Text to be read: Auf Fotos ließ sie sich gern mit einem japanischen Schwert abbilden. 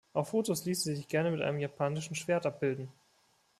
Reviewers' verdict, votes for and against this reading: accepted, 2, 0